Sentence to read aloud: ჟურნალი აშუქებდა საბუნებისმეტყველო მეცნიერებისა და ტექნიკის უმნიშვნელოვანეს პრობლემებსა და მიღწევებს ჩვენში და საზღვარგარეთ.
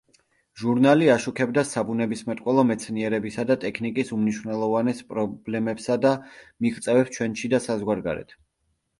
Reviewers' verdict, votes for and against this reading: accepted, 2, 0